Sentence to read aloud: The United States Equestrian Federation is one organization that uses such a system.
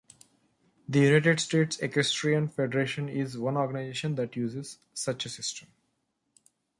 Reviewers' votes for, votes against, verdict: 2, 1, accepted